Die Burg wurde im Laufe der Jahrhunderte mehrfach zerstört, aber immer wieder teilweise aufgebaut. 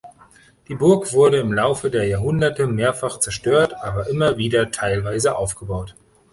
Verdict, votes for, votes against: accepted, 3, 0